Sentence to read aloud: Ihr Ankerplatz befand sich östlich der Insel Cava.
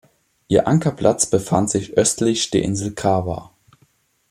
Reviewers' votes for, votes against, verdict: 2, 0, accepted